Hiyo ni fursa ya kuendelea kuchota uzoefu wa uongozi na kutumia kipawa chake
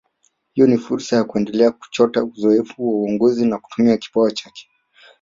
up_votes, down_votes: 3, 2